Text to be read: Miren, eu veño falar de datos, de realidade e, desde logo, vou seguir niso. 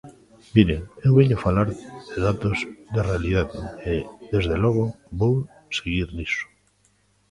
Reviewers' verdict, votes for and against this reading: rejected, 1, 2